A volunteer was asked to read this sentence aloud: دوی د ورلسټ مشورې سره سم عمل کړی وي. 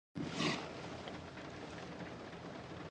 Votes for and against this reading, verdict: 1, 2, rejected